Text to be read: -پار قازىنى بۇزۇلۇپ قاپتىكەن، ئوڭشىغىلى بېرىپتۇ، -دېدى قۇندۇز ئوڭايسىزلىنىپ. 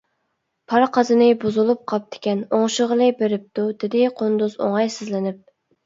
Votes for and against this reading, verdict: 2, 0, accepted